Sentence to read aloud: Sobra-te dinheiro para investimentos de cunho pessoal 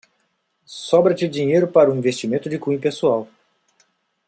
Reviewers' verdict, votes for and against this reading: rejected, 0, 2